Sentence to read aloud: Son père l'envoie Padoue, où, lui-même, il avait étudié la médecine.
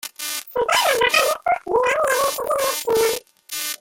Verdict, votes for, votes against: rejected, 0, 2